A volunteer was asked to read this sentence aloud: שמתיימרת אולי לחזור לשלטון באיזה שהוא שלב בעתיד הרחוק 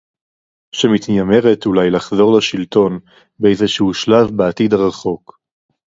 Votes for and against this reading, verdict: 2, 0, accepted